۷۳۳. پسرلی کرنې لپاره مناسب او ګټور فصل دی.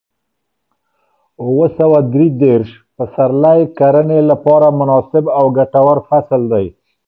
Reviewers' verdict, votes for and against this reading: rejected, 0, 2